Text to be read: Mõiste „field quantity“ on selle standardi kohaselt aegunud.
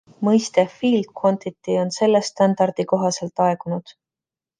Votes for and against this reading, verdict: 2, 0, accepted